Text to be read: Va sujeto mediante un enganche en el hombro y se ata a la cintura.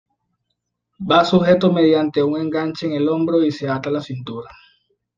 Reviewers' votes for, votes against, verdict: 2, 0, accepted